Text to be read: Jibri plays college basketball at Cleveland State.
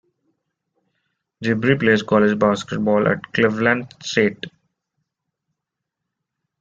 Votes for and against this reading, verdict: 1, 2, rejected